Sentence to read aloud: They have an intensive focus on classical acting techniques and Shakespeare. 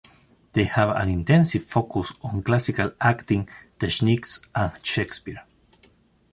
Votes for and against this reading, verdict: 1, 2, rejected